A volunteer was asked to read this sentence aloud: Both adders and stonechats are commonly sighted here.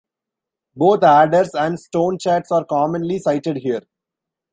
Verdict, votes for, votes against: accepted, 2, 0